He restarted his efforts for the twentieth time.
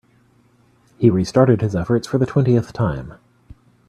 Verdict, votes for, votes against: accepted, 2, 0